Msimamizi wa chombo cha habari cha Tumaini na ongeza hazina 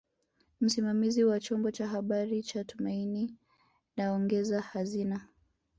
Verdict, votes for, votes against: accepted, 2, 0